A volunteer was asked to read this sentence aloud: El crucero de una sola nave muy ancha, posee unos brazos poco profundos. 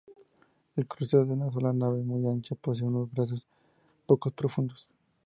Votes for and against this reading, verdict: 2, 0, accepted